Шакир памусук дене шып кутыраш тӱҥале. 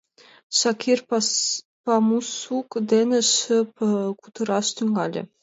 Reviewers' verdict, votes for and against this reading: rejected, 0, 2